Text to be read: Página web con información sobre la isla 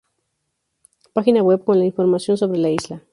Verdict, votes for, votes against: rejected, 2, 2